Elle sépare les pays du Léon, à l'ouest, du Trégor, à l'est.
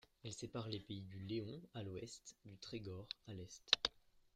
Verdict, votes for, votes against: rejected, 1, 2